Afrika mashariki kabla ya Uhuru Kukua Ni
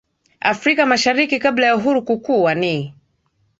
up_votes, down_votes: 2, 0